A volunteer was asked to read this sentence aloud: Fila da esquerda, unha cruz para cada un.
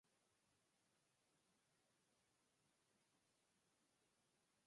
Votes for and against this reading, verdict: 0, 4, rejected